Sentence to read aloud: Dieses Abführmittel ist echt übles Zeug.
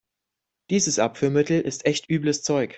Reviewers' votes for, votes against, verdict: 2, 0, accepted